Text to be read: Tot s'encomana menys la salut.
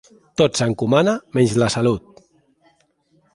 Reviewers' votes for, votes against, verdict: 2, 0, accepted